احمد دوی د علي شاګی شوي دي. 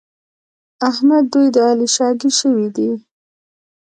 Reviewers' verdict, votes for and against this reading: rejected, 0, 2